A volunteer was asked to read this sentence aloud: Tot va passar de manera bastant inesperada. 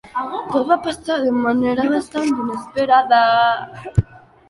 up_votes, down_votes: 1, 3